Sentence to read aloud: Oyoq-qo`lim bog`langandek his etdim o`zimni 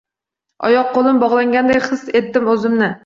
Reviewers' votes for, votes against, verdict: 0, 2, rejected